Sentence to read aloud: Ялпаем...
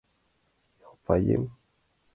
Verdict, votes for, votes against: accepted, 2, 0